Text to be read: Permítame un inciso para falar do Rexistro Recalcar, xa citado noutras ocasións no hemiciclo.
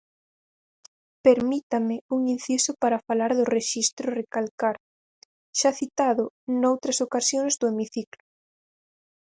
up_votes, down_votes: 0, 4